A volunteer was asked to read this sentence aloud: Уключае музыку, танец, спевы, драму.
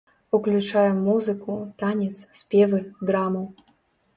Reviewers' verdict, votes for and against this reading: accepted, 2, 0